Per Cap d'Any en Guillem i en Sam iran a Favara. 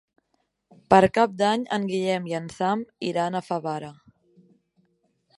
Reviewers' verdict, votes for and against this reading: accepted, 3, 0